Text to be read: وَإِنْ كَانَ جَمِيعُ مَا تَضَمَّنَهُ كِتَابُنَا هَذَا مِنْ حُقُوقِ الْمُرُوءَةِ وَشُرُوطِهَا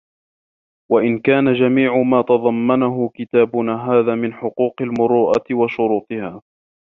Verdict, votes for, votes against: rejected, 0, 2